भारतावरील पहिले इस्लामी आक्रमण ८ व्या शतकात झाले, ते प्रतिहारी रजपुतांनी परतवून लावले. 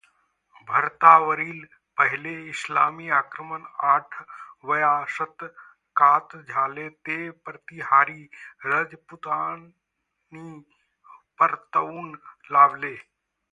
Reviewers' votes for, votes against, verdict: 0, 2, rejected